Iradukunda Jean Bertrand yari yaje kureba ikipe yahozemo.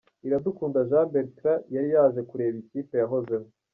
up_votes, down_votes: 0, 2